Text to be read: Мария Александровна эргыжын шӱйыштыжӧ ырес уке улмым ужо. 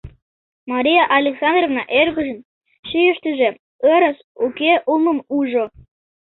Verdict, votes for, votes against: rejected, 1, 2